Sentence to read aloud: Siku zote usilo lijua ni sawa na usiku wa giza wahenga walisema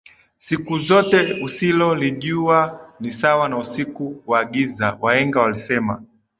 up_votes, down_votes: 4, 0